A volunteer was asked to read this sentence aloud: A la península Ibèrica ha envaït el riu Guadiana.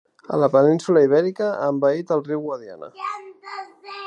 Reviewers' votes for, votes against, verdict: 2, 0, accepted